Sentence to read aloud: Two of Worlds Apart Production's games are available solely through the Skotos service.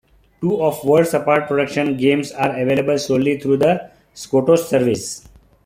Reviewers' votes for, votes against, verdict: 2, 0, accepted